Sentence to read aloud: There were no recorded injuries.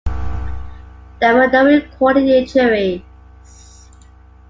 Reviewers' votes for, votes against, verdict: 2, 1, accepted